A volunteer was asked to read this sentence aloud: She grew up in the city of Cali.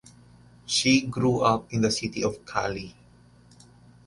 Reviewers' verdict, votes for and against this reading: accepted, 2, 1